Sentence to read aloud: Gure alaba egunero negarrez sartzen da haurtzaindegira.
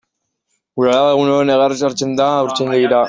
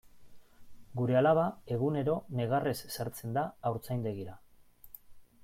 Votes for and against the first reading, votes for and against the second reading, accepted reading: 0, 2, 3, 2, second